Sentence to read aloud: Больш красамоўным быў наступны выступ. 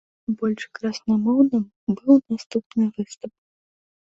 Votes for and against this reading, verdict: 0, 2, rejected